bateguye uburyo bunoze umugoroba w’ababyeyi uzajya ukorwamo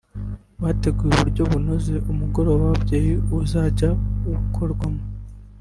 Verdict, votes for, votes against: rejected, 1, 2